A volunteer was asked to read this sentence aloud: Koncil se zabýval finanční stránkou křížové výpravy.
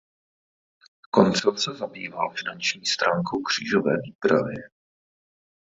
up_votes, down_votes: 2, 2